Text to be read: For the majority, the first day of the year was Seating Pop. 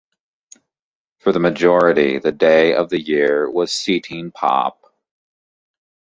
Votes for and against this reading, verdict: 0, 2, rejected